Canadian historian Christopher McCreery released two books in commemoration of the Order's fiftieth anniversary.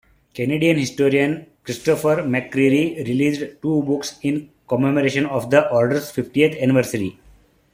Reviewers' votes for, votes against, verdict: 2, 1, accepted